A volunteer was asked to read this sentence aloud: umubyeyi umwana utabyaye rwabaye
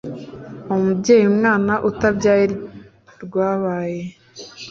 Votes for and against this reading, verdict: 2, 0, accepted